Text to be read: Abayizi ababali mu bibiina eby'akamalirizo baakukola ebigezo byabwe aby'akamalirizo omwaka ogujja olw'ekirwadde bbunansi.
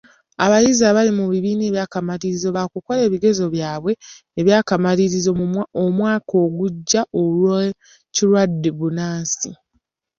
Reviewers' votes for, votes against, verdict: 1, 2, rejected